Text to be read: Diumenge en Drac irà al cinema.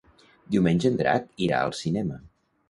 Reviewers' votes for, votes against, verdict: 2, 0, accepted